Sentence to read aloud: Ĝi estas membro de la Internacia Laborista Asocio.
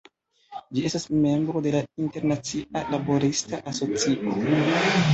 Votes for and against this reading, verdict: 1, 2, rejected